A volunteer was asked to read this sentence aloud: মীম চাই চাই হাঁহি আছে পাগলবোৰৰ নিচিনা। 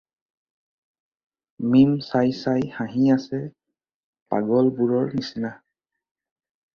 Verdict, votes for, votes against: accepted, 2, 0